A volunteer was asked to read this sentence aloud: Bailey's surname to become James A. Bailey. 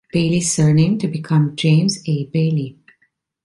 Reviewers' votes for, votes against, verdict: 2, 0, accepted